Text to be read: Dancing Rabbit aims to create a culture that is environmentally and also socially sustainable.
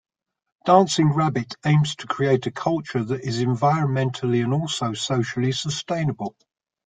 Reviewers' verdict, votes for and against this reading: accepted, 2, 0